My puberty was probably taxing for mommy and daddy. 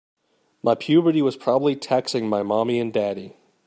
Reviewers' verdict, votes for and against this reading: rejected, 0, 2